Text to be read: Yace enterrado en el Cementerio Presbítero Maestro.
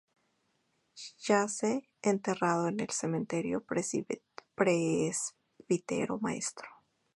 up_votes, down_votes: 2, 0